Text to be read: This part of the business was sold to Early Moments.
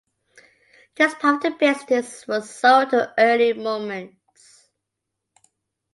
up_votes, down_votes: 2, 0